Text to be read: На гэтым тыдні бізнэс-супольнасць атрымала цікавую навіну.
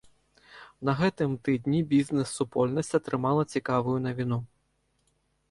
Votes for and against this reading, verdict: 3, 0, accepted